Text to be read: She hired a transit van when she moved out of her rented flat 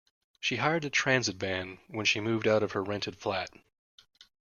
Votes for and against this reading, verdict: 2, 0, accepted